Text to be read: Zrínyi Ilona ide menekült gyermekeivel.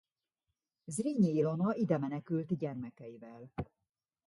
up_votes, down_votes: 1, 2